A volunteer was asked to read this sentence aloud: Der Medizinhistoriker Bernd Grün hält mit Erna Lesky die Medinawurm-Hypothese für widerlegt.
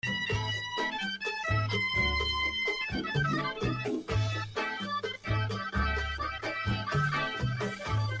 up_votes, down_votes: 0, 2